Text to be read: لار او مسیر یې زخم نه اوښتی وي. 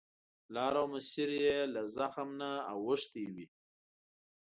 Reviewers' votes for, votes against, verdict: 2, 3, rejected